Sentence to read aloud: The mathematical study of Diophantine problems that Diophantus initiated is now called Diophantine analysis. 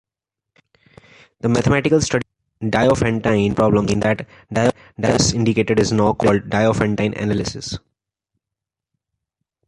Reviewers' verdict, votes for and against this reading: rejected, 0, 2